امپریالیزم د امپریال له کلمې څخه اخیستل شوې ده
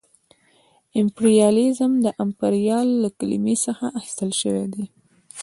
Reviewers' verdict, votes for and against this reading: accepted, 2, 1